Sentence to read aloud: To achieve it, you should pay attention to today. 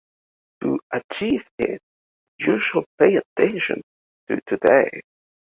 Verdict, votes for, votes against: rejected, 1, 2